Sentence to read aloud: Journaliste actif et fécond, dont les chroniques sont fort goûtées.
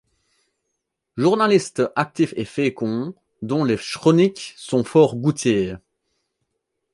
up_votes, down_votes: 1, 2